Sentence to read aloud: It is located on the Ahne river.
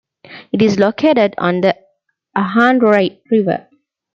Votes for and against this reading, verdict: 0, 2, rejected